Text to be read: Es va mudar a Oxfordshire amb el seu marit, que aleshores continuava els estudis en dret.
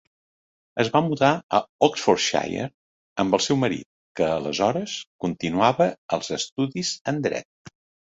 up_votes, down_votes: 3, 0